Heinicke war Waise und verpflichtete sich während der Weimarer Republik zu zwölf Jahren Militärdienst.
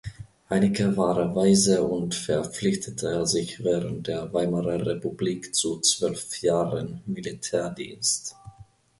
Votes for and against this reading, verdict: 2, 0, accepted